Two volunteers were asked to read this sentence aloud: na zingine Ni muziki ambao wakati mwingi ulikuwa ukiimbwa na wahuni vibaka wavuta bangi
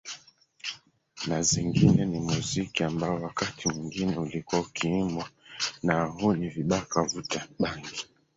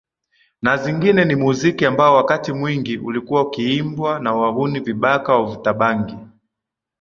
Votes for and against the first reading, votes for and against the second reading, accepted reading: 0, 5, 14, 0, second